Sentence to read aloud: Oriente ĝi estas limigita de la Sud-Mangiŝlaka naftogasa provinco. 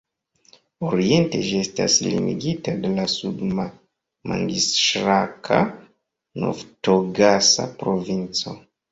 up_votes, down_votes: 0, 2